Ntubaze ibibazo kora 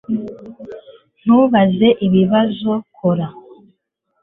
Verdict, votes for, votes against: accepted, 2, 0